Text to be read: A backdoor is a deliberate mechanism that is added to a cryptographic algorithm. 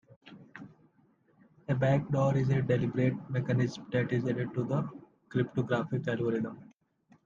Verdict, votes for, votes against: rejected, 1, 2